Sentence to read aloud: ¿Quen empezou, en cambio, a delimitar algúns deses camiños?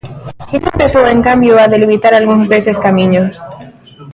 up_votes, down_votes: 0, 2